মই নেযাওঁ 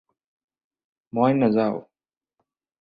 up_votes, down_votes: 4, 0